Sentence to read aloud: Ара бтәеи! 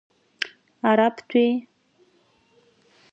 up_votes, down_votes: 2, 0